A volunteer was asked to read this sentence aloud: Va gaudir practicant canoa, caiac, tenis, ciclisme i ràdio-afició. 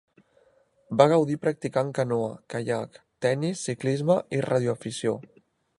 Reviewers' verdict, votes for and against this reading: accepted, 2, 0